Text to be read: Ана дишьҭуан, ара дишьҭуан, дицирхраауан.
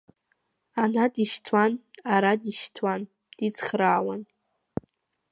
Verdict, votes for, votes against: rejected, 1, 2